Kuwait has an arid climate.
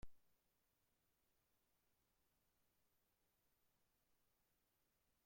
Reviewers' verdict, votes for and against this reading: rejected, 1, 2